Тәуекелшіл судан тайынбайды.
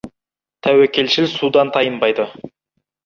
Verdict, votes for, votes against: accepted, 2, 0